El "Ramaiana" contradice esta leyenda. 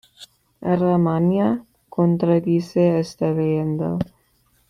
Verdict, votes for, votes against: rejected, 1, 2